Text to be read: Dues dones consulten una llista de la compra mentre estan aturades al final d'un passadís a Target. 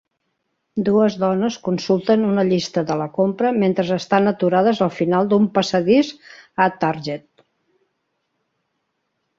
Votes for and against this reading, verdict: 1, 3, rejected